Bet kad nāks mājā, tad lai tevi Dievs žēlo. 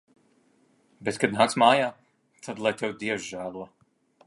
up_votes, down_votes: 2, 0